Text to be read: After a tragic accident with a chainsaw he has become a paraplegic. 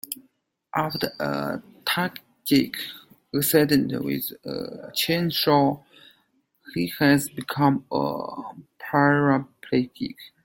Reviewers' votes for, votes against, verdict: 1, 2, rejected